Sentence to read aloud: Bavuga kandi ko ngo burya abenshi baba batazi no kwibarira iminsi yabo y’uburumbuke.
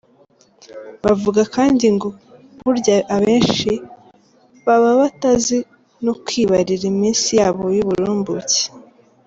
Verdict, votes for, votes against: rejected, 0, 2